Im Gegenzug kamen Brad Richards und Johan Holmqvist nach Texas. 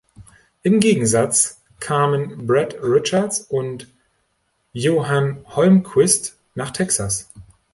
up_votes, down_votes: 0, 2